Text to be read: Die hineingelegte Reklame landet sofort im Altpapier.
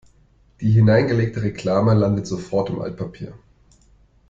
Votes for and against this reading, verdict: 2, 0, accepted